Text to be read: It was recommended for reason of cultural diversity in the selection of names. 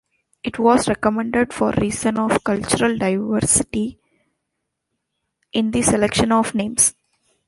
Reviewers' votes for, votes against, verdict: 0, 2, rejected